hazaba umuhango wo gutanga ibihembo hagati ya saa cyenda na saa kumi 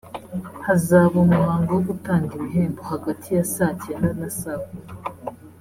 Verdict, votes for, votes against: rejected, 1, 2